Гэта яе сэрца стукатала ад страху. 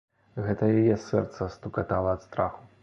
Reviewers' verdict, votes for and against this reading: accepted, 2, 0